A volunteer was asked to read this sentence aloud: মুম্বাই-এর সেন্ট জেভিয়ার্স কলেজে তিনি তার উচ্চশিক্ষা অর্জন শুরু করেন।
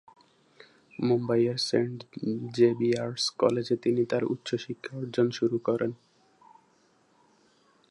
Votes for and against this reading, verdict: 3, 2, accepted